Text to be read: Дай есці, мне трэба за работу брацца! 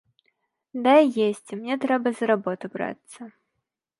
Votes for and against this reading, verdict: 2, 0, accepted